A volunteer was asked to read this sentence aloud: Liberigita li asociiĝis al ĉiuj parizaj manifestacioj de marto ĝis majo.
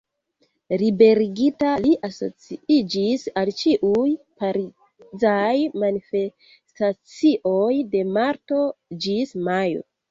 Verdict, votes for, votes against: accepted, 2, 1